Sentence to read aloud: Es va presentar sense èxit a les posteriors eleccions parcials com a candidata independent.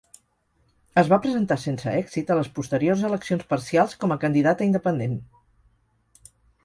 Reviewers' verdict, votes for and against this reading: accepted, 4, 0